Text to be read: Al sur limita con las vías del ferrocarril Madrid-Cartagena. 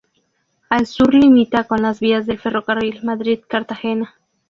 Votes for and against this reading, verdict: 2, 0, accepted